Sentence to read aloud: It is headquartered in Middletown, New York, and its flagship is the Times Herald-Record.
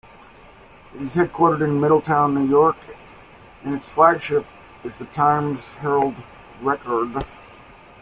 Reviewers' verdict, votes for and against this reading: rejected, 1, 2